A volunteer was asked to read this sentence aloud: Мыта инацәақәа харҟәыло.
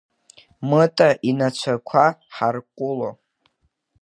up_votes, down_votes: 1, 2